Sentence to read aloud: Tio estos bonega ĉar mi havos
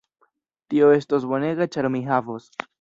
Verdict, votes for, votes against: accepted, 2, 0